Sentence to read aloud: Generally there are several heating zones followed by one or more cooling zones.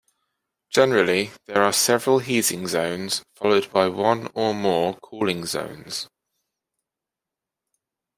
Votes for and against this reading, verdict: 2, 1, accepted